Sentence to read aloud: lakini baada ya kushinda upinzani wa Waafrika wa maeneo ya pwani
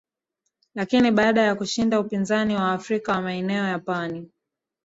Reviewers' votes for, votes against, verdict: 1, 2, rejected